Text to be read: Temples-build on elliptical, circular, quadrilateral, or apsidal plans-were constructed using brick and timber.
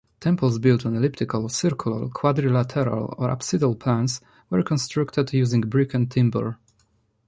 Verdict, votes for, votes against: rejected, 1, 2